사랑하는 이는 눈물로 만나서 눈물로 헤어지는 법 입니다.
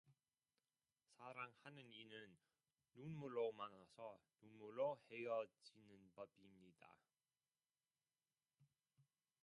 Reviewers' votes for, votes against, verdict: 0, 2, rejected